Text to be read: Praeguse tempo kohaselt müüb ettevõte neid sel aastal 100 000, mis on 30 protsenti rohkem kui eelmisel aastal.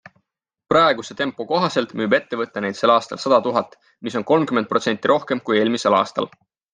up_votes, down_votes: 0, 2